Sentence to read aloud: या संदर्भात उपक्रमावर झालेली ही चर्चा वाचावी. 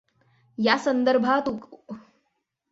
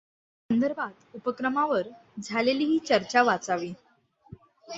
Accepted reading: second